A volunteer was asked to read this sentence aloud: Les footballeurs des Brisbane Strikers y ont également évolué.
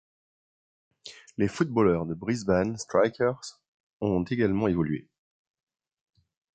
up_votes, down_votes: 1, 2